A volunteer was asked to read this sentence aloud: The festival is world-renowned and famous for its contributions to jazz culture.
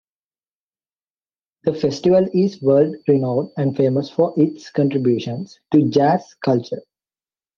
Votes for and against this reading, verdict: 2, 1, accepted